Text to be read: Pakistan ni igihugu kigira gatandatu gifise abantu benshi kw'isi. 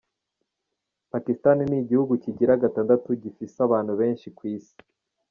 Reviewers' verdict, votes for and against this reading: accepted, 2, 0